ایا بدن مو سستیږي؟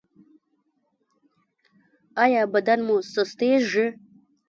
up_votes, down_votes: 0, 2